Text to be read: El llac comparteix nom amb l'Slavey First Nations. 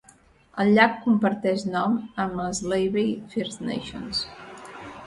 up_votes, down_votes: 2, 0